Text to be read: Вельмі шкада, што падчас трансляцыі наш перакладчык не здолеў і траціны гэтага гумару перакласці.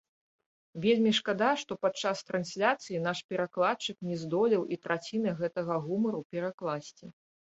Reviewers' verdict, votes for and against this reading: rejected, 1, 2